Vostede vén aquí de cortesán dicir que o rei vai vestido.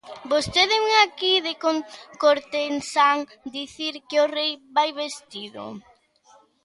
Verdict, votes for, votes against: rejected, 0, 2